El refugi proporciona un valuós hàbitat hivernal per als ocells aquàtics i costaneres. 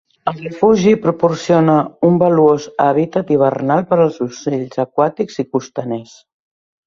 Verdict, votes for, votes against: rejected, 0, 2